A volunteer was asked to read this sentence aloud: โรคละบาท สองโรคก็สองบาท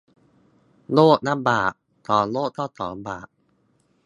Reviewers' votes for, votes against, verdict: 0, 2, rejected